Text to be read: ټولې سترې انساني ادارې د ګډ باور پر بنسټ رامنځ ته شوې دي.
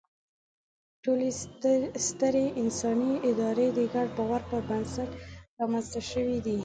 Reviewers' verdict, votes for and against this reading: accepted, 2, 0